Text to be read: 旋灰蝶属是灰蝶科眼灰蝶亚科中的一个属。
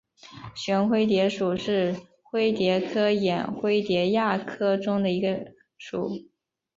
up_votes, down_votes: 2, 0